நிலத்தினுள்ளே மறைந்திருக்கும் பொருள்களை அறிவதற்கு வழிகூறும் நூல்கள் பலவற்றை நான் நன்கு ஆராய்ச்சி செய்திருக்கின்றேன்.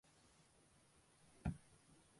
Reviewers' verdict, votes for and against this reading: rejected, 0, 2